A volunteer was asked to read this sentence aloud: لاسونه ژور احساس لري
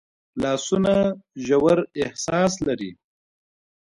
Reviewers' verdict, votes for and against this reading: rejected, 0, 2